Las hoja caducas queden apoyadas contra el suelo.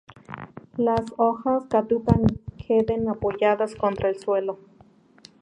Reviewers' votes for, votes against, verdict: 0, 4, rejected